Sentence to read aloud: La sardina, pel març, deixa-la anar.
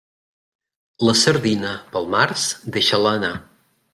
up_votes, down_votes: 2, 0